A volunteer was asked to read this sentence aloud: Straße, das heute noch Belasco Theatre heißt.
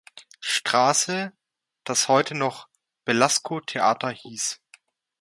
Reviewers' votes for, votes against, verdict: 0, 2, rejected